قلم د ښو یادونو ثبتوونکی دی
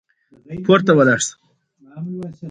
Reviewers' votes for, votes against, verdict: 2, 1, accepted